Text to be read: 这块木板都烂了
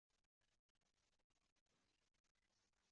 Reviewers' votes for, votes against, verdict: 2, 3, rejected